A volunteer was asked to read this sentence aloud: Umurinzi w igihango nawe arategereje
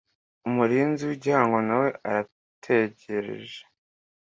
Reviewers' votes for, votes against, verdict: 2, 1, accepted